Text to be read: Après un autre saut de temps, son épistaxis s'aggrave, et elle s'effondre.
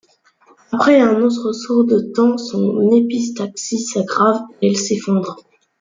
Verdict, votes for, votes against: rejected, 0, 2